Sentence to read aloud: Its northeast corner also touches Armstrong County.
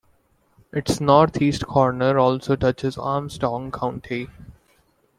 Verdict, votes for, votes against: accepted, 2, 0